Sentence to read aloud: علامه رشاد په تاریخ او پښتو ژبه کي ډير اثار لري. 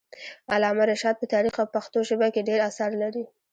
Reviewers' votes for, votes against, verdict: 0, 2, rejected